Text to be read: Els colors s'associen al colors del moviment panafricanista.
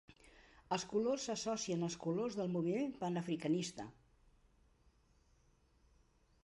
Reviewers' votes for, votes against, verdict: 2, 0, accepted